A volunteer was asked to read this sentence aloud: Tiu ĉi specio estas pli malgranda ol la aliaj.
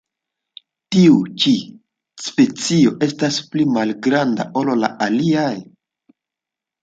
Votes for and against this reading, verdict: 2, 1, accepted